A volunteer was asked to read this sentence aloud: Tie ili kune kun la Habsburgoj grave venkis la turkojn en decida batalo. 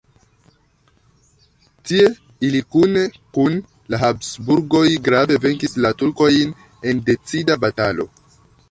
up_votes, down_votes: 2, 0